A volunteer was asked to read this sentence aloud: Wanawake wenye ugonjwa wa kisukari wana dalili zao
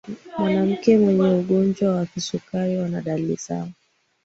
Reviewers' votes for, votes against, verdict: 0, 2, rejected